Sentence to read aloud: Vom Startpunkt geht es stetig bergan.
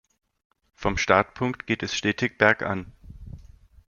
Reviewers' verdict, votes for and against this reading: accepted, 2, 0